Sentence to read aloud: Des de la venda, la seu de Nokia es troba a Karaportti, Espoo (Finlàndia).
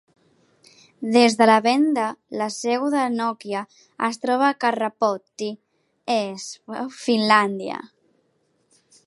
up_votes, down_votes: 2, 3